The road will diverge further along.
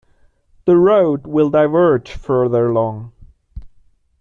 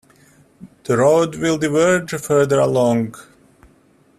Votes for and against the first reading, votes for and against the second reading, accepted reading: 0, 2, 2, 0, second